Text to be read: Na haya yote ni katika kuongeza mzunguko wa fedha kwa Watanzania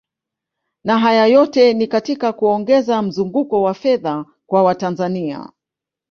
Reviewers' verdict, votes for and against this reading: accepted, 2, 0